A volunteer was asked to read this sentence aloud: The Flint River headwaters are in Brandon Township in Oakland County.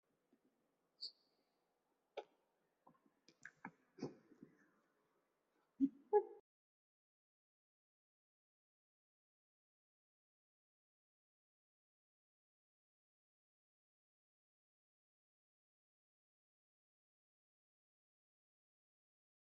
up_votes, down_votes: 0, 2